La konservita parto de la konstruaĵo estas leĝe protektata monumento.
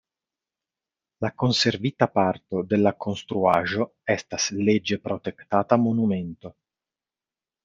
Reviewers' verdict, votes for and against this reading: accepted, 2, 0